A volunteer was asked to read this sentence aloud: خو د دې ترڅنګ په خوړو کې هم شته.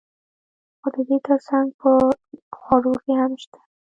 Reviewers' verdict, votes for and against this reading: rejected, 0, 2